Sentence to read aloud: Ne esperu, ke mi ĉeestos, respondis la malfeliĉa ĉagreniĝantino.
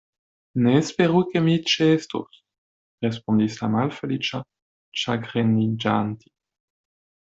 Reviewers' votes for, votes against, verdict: 1, 2, rejected